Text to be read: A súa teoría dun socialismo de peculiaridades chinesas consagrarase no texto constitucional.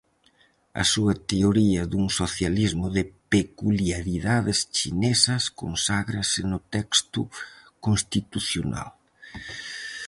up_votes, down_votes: 0, 4